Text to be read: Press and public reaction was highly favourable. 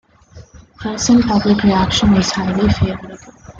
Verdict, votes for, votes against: accepted, 2, 0